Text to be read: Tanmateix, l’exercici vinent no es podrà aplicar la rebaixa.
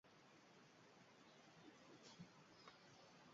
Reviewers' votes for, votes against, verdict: 0, 2, rejected